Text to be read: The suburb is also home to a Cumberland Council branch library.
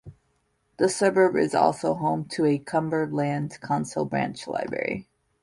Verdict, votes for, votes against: accepted, 2, 1